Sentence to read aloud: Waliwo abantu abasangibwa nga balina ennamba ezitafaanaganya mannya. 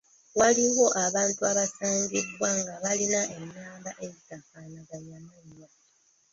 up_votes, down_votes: 1, 2